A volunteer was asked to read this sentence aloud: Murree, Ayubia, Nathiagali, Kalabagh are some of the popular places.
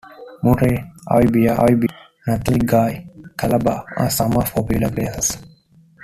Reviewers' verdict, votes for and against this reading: rejected, 1, 2